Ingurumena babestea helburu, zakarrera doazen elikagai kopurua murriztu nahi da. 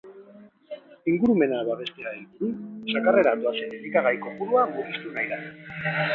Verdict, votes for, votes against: rejected, 1, 4